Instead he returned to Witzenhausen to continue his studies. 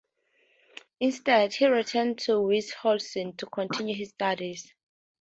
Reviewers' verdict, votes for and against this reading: accepted, 2, 0